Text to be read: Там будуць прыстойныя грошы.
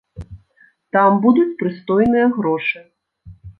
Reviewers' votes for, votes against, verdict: 2, 0, accepted